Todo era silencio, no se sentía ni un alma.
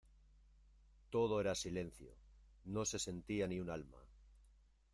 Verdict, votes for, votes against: accepted, 2, 0